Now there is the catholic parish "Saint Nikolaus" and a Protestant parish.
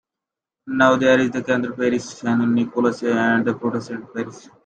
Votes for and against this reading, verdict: 0, 2, rejected